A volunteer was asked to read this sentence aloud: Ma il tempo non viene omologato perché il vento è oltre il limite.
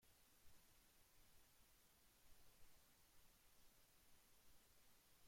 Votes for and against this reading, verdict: 0, 2, rejected